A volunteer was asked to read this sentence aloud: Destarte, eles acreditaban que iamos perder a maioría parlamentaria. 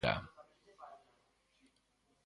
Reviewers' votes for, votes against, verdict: 0, 2, rejected